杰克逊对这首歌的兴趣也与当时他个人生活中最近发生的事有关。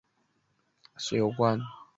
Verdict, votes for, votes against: rejected, 0, 2